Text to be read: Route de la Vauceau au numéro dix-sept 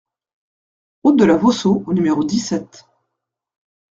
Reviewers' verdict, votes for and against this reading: accepted, 2, 0